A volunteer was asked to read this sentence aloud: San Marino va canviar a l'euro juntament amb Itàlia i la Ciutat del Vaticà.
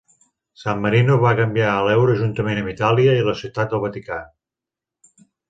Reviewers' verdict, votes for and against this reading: accepted, 3, 0